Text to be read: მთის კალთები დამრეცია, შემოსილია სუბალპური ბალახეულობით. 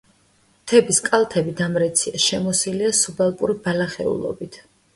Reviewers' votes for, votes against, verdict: 1, 2, rejected